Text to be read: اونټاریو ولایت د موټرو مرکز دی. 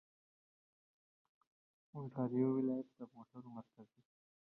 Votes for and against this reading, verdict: 2, 0, accepted